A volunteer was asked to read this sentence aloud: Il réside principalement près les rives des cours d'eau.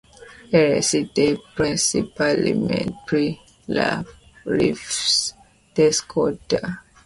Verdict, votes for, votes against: rejected, 1, 2